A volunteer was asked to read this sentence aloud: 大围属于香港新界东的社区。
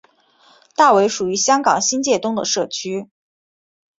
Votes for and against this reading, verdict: 6, 2, accepted